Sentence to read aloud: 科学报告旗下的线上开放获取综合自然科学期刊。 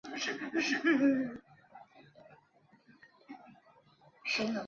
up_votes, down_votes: 2, 0